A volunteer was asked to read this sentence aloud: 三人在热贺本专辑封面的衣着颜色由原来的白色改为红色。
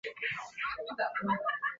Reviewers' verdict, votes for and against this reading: rejected, 0, 3